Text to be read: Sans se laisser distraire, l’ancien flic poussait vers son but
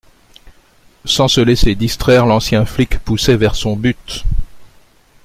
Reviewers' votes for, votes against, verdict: 2, 0, accepted